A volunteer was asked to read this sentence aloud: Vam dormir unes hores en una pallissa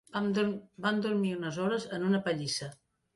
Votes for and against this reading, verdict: 1, 2, rejected